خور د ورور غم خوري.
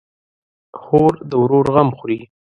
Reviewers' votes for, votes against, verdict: 2, 0, accepted